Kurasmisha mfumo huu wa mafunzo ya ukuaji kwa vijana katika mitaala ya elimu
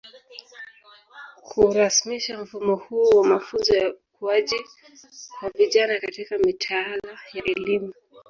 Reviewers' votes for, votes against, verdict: 1, 2, rejected